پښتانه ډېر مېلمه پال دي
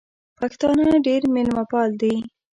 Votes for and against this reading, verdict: 2, 0, accepted